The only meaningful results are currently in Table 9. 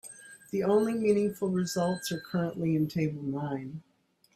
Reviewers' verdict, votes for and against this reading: rejected, 0, 2